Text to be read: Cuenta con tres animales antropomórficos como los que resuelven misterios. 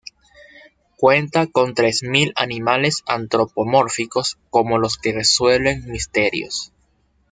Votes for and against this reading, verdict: 0, 2, rejected